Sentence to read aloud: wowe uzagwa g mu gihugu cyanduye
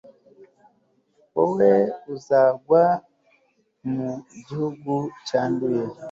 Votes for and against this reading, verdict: 1, 2, rejected